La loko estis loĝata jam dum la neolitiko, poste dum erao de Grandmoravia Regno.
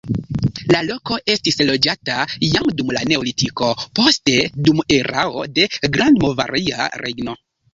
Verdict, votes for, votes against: rejected, 1, 2